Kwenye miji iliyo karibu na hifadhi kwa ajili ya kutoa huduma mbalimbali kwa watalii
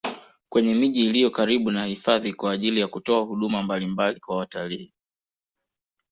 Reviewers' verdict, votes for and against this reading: accepted, 2, 1